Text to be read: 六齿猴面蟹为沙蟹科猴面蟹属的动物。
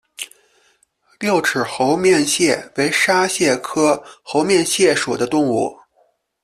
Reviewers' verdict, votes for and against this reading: accepted, 2, 0